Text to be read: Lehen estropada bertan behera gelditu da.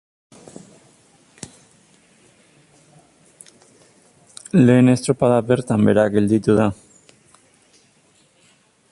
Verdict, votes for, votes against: rejected, 0, 6